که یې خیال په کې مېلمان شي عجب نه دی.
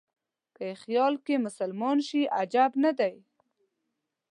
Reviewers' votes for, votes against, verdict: 0, 2, rejected